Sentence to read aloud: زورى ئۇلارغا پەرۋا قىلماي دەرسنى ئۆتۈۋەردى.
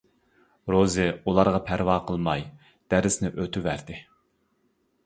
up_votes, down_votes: 1, 2